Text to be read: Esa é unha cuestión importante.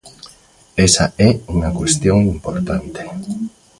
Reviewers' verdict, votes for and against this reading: accepted, 2, 0